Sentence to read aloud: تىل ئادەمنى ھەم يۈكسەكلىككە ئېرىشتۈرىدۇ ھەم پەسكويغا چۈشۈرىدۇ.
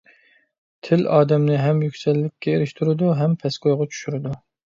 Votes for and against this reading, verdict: 0, 2, rejected